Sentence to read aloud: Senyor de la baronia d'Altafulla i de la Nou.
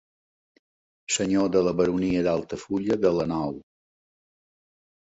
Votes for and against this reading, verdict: 1, 2, rejected